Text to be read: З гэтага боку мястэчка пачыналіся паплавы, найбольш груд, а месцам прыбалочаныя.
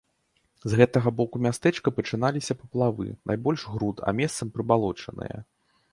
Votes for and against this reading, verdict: 2, 0, accepted